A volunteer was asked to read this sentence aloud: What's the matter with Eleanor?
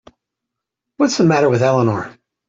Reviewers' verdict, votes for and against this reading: accepted, 2, 0